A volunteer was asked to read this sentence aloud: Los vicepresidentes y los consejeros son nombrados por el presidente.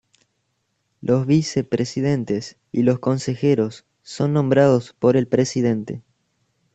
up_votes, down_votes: 2, 0